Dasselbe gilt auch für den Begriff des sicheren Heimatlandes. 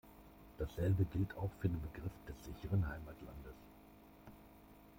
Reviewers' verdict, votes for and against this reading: accepted, 2, 0